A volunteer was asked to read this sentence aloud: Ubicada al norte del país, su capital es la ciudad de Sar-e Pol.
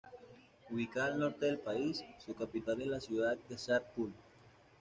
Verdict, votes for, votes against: rejected, 1, 2